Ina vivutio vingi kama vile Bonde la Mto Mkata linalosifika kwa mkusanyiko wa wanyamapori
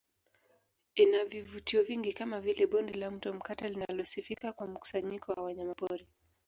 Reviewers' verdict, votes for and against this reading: accepted, 2, 1